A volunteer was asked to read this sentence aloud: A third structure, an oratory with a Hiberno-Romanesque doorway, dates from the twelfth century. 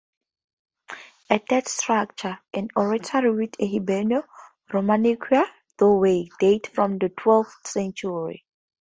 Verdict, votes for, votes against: rejected, 0, 4